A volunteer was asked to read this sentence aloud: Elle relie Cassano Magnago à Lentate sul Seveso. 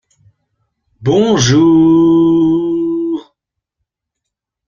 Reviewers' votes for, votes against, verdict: 0, 2, rejected